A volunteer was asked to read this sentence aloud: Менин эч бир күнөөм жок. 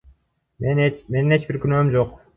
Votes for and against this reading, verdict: 2, 0, accepted